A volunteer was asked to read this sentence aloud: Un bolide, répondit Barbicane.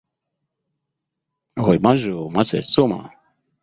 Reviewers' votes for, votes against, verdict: 1, 2, rejected